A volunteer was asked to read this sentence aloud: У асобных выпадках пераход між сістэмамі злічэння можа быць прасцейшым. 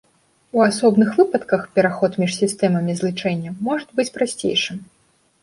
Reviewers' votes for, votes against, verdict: 0, 3, rejected